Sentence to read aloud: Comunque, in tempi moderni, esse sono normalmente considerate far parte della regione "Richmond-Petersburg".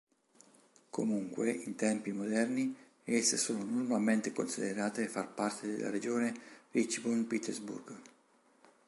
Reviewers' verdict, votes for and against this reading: rejected, 1, 2